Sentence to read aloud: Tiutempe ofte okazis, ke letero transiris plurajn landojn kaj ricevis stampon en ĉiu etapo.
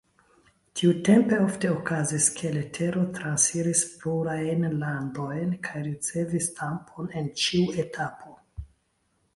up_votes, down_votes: 0, 2